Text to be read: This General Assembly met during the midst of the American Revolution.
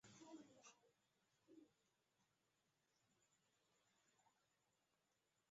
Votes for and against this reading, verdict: 0, 2, rejected